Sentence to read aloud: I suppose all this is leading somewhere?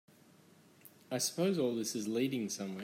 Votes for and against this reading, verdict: 3, 0, accepted